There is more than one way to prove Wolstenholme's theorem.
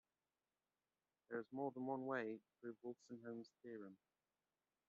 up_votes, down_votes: 1, 2